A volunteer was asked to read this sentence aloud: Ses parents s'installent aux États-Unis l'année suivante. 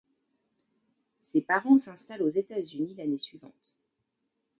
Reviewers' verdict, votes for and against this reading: rejected, 0, 2